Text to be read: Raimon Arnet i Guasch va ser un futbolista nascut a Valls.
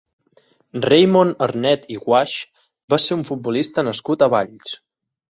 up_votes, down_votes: 1, 2